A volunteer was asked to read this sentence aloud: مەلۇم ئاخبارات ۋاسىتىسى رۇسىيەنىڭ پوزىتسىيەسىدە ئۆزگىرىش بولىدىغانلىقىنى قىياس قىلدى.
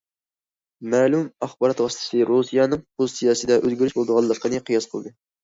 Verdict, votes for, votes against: accepted, 2, 0